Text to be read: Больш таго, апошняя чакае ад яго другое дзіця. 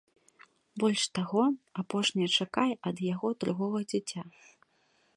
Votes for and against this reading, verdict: 1, 2, rejected